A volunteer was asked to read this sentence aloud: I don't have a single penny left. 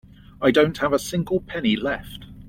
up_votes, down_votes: 2, 0